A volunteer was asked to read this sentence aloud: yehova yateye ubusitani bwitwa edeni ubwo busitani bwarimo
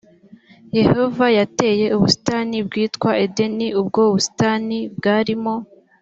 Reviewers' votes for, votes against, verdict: 2, 1, accepted